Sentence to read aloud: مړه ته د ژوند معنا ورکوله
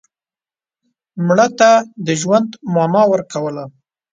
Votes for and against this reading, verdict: 1, 3, rejected